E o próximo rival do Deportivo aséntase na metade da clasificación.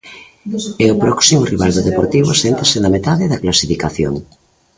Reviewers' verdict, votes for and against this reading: rejected, 0, 2